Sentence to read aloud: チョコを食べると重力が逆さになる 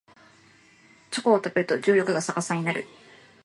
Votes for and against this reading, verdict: 2, 0, accepted